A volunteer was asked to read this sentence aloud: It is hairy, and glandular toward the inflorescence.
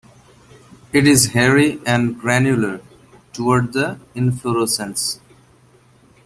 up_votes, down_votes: 0, 2